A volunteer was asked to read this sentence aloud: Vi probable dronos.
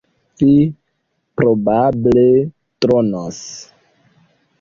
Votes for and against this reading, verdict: 2, 0, accepted